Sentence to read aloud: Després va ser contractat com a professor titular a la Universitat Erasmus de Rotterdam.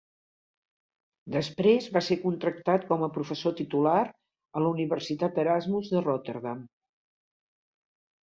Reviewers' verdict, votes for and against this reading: accepted, 3, 0